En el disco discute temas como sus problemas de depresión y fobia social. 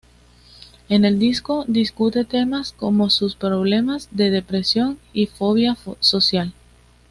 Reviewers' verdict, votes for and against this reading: accepted, 2, 0